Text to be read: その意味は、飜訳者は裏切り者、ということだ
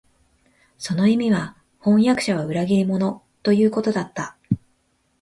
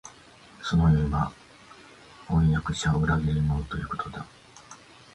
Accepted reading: second